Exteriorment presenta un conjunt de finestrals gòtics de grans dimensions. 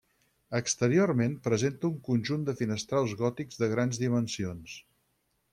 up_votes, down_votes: 6, 0